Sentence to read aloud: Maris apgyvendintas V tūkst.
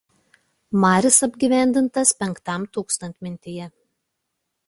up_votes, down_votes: 2, 1